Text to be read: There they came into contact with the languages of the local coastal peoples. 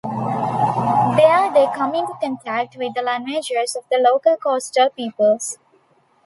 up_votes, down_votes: 0, 2